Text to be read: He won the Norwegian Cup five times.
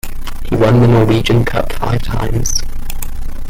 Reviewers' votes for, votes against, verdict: 1, 2, rejected